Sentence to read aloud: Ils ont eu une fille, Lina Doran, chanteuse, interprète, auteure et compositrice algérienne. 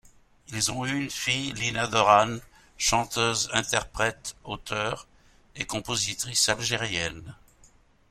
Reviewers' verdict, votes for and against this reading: accepted, 2, 0